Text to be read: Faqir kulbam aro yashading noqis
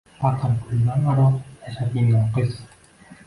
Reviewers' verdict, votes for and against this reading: rejected, 1, 2